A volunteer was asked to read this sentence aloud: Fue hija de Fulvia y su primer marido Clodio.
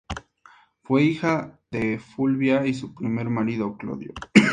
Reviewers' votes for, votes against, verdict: 2, 0, accepted